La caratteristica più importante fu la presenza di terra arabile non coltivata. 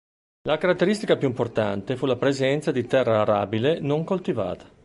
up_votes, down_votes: 2, 0